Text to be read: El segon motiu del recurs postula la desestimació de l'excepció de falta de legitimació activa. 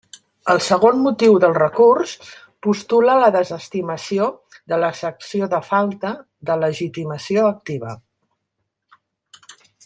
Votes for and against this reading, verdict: 2, 0, accepted